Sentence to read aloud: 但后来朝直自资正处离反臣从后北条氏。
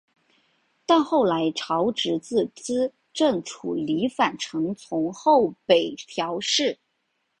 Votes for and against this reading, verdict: 2, 0, accepted